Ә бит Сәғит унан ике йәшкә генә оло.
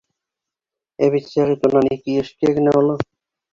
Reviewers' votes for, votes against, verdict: 2, 0, accepted